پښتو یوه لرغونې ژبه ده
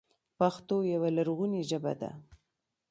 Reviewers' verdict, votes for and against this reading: rejected, 0, 2